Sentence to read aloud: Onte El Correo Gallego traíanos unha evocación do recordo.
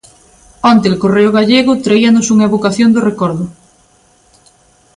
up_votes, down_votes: 2, 0